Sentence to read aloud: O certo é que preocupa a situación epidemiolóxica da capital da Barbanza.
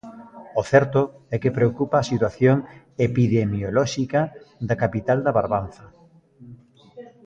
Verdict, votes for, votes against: rejected, 1, 2